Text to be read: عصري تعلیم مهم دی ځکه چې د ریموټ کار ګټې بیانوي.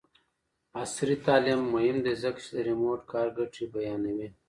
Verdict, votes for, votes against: rejected, 1, 2